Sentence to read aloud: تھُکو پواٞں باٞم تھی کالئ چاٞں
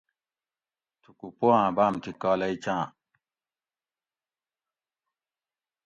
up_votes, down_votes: 2, 0